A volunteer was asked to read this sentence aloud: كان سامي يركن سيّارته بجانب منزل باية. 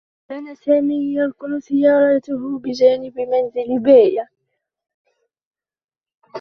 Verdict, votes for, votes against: rejected, 1, 2